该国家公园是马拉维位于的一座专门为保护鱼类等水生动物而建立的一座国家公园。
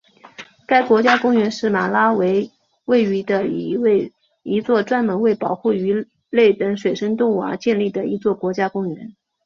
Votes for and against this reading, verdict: 2, 1, accepted